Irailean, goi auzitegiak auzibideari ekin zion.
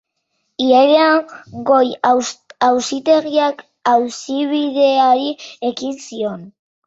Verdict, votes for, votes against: rejected, 2, 3